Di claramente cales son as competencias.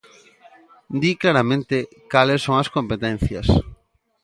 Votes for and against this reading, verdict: 2, 0, accepted